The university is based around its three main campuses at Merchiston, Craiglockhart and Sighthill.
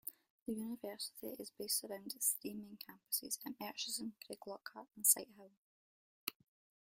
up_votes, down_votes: 2, 0